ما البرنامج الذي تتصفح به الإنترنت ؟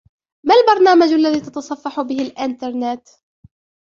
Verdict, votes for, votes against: accepted, 2, 0